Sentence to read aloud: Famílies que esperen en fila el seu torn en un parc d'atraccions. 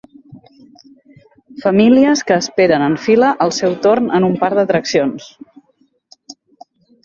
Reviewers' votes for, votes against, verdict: 0, 4, rejected